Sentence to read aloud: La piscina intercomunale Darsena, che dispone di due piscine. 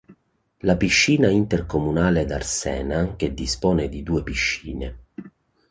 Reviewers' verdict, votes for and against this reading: rejected, 0, 2